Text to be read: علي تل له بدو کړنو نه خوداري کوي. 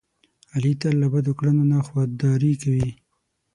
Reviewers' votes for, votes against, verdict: 3, 6, rejected